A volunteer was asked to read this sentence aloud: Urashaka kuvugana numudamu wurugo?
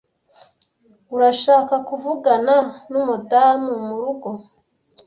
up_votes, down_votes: 1, 2